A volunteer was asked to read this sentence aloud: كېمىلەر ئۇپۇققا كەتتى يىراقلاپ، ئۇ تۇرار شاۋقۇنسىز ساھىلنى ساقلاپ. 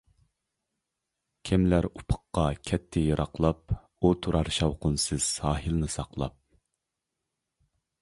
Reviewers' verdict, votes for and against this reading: accepted, 2, 0